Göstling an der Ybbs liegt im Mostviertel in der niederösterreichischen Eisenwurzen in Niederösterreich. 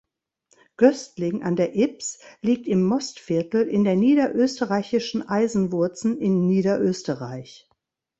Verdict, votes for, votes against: accepted, 2, 0